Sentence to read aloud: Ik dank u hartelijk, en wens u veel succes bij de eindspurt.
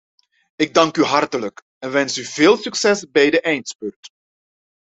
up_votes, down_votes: 2, 0